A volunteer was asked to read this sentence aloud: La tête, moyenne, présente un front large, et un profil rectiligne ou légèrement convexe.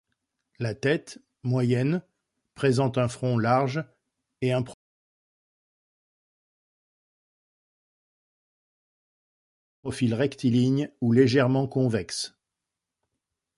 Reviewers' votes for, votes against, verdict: 0, 2, rejected